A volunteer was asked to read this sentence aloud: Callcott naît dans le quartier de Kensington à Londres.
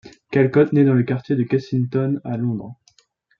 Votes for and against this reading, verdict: 2, 0, accepted